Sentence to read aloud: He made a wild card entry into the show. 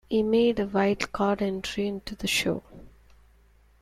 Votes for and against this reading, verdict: 2, 0, accepted